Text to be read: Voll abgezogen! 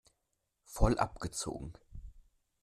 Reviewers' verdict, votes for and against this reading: accepted, 2, 1